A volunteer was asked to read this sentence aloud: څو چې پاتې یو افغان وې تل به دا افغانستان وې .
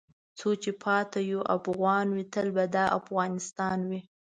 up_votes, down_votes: 2, 0